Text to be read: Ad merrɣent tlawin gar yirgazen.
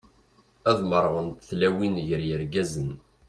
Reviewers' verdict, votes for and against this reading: accepted, 2, 0